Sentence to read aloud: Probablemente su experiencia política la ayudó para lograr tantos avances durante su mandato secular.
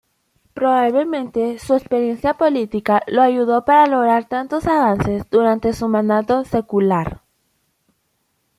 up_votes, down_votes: 1, 2